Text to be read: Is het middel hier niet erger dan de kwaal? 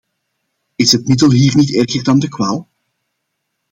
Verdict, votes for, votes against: accepted, 2, 1